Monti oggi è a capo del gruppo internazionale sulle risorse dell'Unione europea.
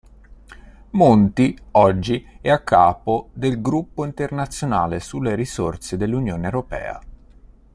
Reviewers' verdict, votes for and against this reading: accepted, 2, 0